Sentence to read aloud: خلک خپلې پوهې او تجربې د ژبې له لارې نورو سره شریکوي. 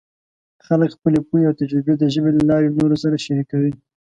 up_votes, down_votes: 2, 0